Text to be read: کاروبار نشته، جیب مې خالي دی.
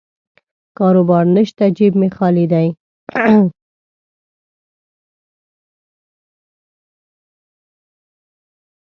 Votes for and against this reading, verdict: 1, 2, rejected